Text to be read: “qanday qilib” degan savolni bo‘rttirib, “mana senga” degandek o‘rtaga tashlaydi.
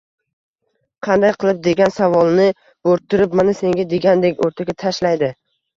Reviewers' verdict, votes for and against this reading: rejected, 0, 2